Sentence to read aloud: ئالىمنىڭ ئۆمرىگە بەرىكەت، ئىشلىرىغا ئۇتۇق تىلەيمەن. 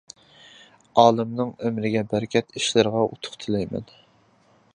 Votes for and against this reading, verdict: 2, 0, accepted